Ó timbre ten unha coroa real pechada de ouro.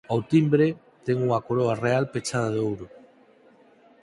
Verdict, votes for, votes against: accepted, 4, 0